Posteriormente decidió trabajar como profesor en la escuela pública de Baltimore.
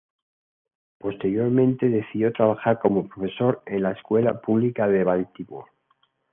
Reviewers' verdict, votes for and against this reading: accepted, 2, 0